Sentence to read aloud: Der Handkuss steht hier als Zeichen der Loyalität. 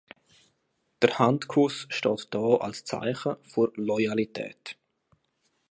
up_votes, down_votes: 1, 2